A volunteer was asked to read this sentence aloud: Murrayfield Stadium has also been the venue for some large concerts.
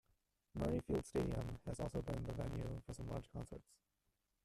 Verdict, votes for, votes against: rejected, 0, 2